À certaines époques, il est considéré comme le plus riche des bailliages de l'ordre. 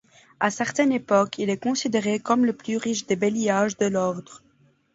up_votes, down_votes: 2, 1